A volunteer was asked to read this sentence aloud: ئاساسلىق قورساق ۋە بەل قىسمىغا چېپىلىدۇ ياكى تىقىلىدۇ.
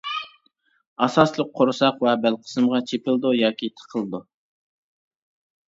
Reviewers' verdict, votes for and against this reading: accepted, 2, 0